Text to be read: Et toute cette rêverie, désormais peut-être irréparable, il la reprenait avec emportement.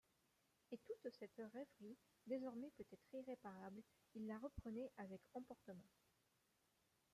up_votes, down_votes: 1, 2